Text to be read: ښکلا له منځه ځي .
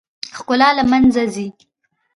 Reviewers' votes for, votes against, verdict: 1, 2, rejected